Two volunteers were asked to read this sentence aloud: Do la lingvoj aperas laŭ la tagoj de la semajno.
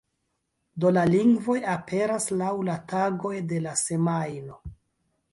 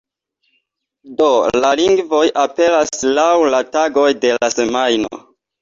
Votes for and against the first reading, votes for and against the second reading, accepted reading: 1, 2, 2, 0, second